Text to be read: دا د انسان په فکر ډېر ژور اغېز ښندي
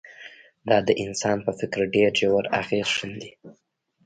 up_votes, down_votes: 1, 2